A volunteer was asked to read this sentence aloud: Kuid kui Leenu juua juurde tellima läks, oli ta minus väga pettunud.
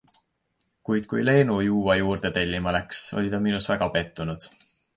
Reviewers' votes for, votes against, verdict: 2, 0, accepted